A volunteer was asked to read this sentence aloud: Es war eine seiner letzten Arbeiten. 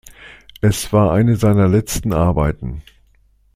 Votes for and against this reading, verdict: 2, 0, accepted